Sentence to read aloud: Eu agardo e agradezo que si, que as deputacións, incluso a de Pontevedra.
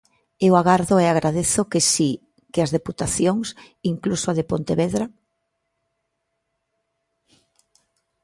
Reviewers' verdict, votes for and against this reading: accepted, 3, 0